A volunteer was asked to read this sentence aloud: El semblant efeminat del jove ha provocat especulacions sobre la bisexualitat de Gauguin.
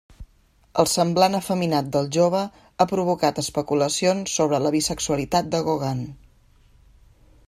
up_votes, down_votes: 2, 0